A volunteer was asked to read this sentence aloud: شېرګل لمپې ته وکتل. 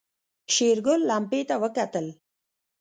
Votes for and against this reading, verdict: 1, 2, rejected